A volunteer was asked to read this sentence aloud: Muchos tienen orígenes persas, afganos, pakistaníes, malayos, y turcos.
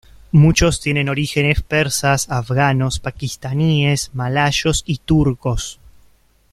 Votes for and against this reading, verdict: 2, 0, accepted